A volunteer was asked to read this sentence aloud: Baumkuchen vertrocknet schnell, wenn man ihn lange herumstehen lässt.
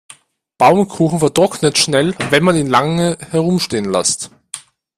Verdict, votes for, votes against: accepted, 2, 0